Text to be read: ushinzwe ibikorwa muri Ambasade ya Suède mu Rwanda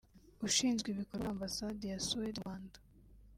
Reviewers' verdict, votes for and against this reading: rejected, 1, 3